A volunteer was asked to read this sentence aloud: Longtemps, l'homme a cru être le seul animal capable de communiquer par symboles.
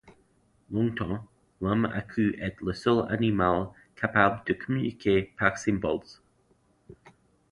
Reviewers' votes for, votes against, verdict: 1, 2, rejected